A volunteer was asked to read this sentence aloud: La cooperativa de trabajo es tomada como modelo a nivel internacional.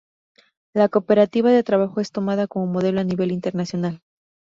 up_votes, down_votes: 4, 0